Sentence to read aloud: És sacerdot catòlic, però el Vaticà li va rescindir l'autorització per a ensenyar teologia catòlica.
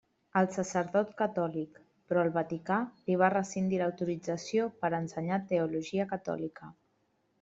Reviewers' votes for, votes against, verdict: 1, 2, rejected